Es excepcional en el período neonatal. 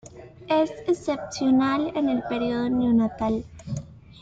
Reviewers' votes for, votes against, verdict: 2, 0, accepted